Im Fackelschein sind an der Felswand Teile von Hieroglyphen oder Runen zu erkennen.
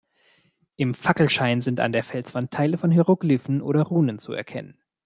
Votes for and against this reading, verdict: 2, 0, accepted